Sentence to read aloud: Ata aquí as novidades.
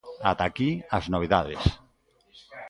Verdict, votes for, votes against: rejected, 1, 2